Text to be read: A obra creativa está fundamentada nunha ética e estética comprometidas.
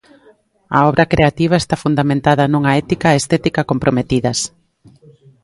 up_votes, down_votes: 3, 0